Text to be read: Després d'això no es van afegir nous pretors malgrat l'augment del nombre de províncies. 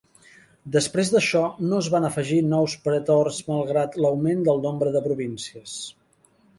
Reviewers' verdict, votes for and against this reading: accepted, 2, 0